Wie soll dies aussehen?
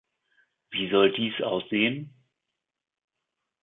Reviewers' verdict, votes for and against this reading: accepted, 2, 0